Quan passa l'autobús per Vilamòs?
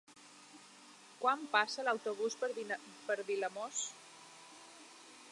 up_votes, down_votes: 0, 2